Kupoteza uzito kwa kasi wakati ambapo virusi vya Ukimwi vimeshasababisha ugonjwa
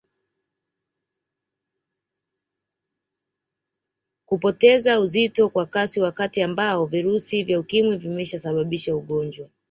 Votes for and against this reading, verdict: 0, 2, rejected